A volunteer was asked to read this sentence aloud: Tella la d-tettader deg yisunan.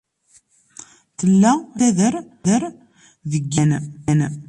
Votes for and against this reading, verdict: 0, 2, rejected